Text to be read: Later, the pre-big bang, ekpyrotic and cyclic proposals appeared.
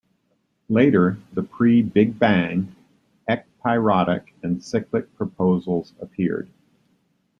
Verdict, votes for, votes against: accepted, 2, 0